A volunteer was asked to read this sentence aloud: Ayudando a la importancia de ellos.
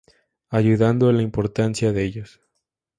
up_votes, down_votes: 2, 0